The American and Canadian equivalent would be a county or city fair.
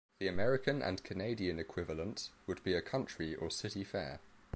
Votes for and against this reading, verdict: 1, 2, rejected